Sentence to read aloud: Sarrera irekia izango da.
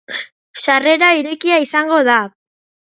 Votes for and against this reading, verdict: 2, 0, accepted